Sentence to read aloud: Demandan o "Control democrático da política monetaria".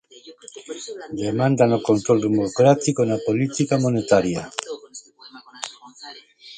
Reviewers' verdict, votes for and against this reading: rejected, 0, 2